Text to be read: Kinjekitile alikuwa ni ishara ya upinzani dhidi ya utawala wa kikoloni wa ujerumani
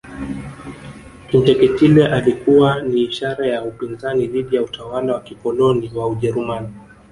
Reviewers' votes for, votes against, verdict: 0, 2, rejected